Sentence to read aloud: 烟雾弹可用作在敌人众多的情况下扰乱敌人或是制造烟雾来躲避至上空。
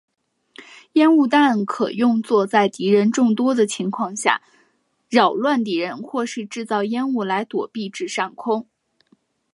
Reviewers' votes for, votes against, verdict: 3, 0, accepted